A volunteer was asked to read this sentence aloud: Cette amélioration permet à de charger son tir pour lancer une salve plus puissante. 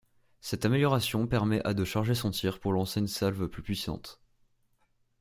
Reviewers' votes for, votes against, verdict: 2, 0, accepted